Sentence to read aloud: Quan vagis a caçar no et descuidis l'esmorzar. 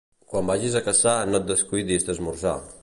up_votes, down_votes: 1, 2